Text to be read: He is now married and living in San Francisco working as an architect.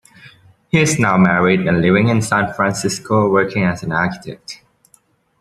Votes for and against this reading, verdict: 2, 0, accepted